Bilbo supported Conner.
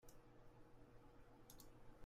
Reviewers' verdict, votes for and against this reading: rejected, 0, 2